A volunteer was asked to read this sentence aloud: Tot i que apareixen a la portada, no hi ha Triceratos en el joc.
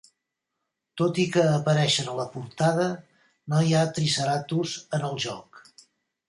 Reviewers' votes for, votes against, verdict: 2, 0, accepted